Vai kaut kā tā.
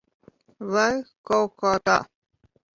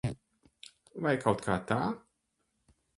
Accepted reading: first